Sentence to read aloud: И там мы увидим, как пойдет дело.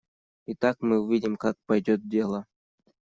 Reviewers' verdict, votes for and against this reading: rejected, 1, 2